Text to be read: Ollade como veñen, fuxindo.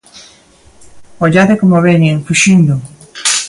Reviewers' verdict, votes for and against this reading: accepted, 2, 0